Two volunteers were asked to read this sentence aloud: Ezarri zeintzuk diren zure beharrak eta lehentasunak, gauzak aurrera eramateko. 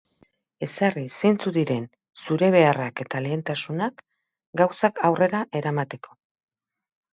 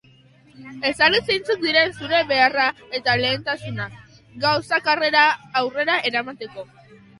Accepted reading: first